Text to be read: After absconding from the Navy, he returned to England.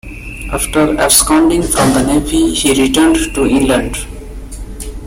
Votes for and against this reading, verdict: 2, 0, accepted